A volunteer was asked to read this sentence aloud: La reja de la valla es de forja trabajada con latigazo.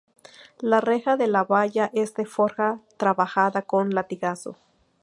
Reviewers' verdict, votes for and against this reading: accepted, 2, 0